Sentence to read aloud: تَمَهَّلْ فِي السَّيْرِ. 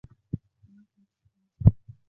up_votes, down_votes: 1, 2